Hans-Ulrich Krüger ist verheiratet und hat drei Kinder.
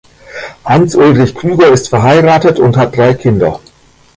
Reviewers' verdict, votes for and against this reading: rejected, 1, 2